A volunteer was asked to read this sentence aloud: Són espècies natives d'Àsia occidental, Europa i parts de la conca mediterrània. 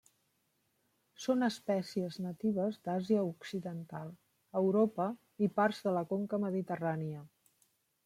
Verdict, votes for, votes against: rejected, 0, 2